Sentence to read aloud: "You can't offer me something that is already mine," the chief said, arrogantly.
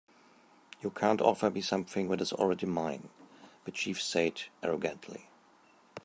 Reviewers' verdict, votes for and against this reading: accepted, 4, 0